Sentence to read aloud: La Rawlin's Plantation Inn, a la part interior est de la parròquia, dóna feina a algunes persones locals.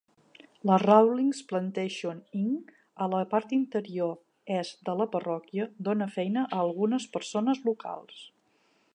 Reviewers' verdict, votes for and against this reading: rejected, 0, 2